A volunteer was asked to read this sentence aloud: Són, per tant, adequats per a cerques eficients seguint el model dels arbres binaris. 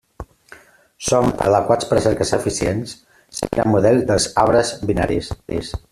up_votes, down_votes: 0, 2